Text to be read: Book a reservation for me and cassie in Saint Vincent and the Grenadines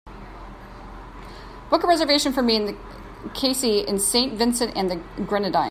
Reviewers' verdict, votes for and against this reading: rejected, 0, 2